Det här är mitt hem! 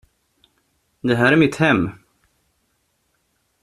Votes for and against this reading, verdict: 2, 0, accepted